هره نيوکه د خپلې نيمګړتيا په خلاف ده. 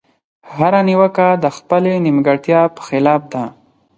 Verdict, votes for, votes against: accepted, 4, 0